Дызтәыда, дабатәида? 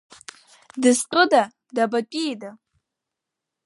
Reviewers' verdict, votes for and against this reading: rejected, 0, 2